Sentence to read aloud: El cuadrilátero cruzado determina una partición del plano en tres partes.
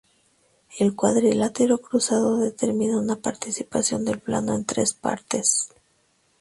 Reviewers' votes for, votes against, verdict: 0, 2, rejected